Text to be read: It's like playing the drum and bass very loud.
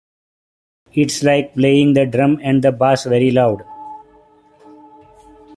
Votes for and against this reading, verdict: 3, 1, accepted